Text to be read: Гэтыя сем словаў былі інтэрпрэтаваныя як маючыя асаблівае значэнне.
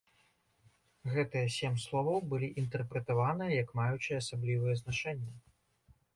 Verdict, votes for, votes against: rejected, 1, 2